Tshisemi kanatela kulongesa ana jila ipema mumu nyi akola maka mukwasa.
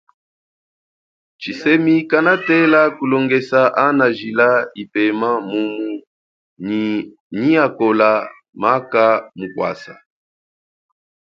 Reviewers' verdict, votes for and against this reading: accepted, 2, 0